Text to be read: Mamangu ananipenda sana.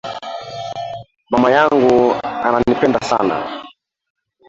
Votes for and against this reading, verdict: 0, 2, rejected